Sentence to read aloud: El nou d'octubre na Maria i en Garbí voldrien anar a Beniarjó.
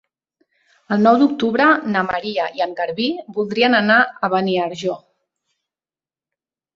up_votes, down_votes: 3, 0